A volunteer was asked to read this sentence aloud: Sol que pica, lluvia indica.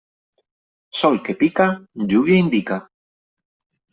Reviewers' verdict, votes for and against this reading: accepted, 3, 0